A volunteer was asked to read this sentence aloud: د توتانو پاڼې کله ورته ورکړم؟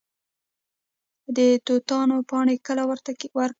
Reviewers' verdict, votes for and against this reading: rejected, 1, 2